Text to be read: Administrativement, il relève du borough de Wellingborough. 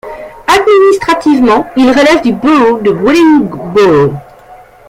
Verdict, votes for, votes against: rejected, 1, 2